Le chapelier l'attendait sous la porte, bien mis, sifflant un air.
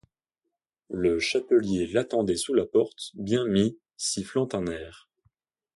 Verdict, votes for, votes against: accepted, 2, 0